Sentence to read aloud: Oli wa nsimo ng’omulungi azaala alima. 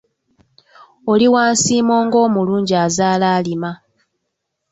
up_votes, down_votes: 2, 0